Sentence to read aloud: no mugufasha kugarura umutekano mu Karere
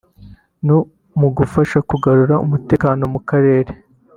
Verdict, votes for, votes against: accepted, 2, 0